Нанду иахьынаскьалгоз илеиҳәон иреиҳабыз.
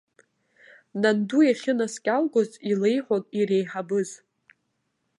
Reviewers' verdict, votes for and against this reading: accepted, 2, 0